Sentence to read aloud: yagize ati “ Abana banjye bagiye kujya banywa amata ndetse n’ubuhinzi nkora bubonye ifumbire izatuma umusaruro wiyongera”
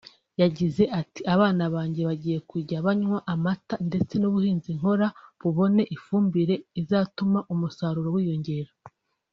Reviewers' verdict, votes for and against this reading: accepted, 3, 0